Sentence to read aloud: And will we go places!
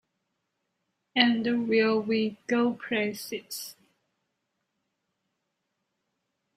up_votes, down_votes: 1, 2